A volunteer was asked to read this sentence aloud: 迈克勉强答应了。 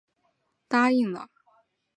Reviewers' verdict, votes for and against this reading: rejected, 1, 2